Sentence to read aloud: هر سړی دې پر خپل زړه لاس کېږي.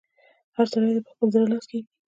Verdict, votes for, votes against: rejected, 1, 2